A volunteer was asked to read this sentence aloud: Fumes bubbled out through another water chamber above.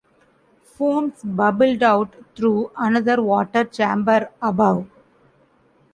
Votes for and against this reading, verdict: 0, 2, rejected